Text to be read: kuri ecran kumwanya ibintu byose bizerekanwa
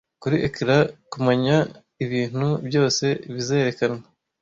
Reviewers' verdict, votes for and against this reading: rejected, 1, 2